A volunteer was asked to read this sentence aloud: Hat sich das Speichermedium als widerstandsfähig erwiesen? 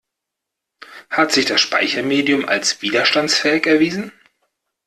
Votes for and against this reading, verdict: 2, 0, accepted